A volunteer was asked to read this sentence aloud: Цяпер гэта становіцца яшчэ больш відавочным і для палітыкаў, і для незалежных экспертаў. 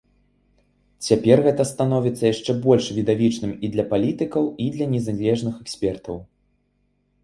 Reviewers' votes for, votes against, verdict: 0, 2, rejected